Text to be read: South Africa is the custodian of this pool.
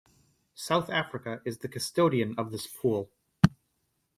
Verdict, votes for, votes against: rejected, 0, 2